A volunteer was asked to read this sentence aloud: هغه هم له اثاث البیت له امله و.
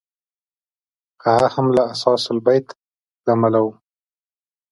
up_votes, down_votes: 2, 0